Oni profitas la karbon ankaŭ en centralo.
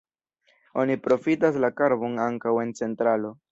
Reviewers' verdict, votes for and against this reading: accepted, 2, 0